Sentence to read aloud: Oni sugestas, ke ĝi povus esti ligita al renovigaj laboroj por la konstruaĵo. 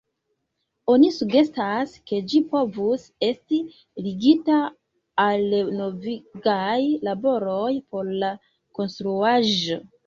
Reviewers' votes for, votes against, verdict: 1, 2, rejected